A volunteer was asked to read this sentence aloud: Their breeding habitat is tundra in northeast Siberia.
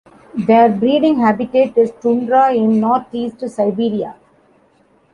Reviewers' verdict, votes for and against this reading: accepted, 2, 1